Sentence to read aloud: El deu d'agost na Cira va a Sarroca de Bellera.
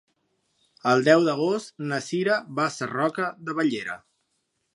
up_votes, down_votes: 2, 0